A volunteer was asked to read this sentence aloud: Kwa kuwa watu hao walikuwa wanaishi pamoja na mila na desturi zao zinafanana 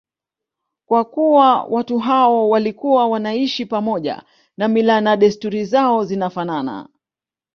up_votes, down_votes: 2, 0